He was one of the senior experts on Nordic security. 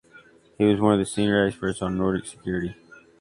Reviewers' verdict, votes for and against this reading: accepted, 2, 0